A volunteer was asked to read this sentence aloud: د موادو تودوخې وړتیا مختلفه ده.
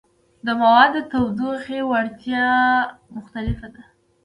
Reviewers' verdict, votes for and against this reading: rejected, 0, 2